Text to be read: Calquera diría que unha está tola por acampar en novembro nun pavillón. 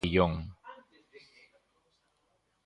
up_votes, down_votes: 0, 2